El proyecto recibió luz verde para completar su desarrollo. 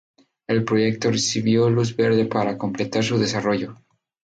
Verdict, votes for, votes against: accepted, 2, 0